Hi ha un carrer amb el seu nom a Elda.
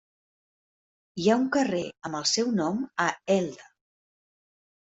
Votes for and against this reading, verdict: 1, 2, rejected